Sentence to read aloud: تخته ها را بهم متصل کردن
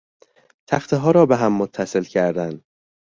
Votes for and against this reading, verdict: 2, 0, accepted